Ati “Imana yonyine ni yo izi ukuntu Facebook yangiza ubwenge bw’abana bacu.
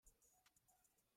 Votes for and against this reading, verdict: 0, 2, rejected